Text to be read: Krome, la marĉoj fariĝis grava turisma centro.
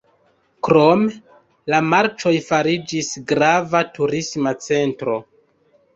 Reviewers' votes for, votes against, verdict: 1, 2, rejected